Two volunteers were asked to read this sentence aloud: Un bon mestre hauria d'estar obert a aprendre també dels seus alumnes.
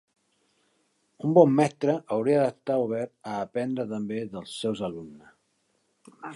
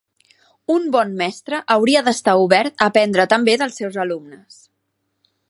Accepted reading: second